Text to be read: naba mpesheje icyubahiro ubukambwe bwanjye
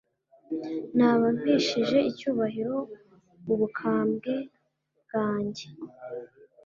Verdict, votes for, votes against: accepted, 3, 0